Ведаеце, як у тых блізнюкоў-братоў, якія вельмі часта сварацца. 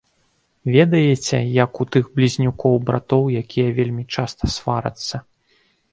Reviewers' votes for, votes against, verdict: 2, 1, accepted